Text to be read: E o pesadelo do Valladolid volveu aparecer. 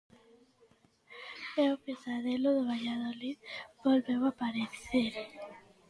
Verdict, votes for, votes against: accepted, 2, 0